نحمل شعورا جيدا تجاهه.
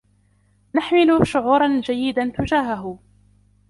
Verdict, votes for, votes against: rejected, 1, 2